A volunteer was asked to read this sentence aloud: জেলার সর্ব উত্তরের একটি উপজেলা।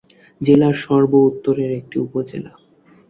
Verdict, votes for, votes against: accepted, 3, 0